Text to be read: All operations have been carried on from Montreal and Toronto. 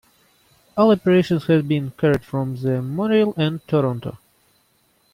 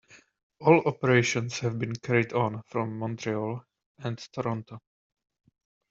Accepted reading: second